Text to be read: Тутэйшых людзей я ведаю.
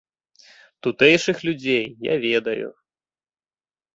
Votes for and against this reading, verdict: 2, 0, accepted